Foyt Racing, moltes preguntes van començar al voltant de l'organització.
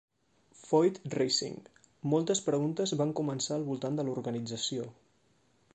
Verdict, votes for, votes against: accepted, 2, 0